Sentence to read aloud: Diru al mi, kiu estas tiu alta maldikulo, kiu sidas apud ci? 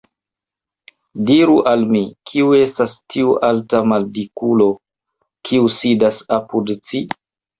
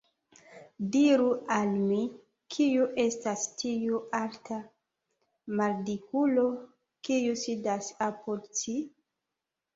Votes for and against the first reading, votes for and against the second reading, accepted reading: 0, 2, 2, 0, second